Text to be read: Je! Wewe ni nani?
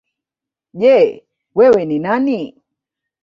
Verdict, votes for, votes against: rejected, 1, 2